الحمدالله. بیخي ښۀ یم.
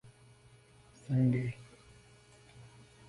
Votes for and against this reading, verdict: 0, 2, rejected